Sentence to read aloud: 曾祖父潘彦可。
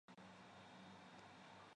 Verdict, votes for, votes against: rejected, 0, 2